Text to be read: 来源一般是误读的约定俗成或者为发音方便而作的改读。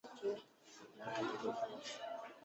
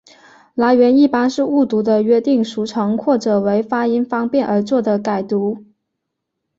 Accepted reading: second